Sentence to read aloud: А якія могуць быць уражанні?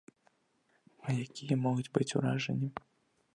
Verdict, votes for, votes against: accepted, 2, 0